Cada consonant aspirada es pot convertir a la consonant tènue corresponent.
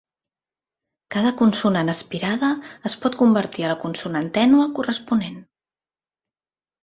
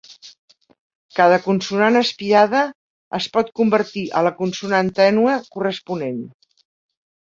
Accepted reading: first